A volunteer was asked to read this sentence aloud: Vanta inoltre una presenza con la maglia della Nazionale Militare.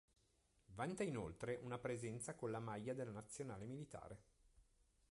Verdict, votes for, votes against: accepted, 2, 0